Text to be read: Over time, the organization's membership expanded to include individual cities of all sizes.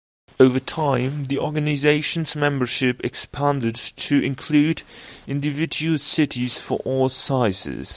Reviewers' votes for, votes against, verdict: 1, 2, rejected